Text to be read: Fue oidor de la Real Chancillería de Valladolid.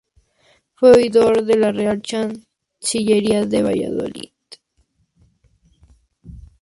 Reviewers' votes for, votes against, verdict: 2, 0, accepted